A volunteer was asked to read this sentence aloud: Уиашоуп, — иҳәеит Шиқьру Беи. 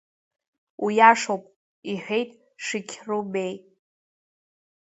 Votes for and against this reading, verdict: 2, 0, accepted